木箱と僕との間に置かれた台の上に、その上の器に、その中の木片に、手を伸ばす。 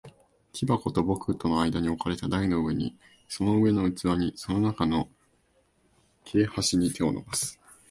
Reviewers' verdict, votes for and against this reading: rejected, 0, 2